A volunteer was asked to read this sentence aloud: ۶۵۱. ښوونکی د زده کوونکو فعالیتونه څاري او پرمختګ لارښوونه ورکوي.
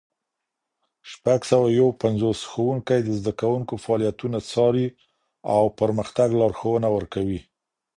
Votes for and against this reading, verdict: 0, 2, rejected